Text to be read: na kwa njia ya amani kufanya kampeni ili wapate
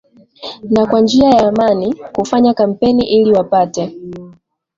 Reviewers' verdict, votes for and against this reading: accepted, 10, 0